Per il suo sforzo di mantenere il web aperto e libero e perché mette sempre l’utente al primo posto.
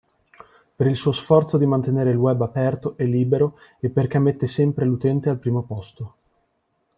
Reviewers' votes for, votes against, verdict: 2, 0, accepted